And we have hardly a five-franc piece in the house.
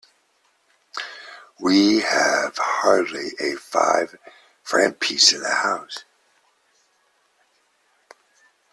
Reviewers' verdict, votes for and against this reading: rejected, 0, 2